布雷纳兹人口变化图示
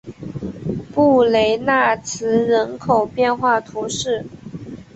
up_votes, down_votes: 3, 0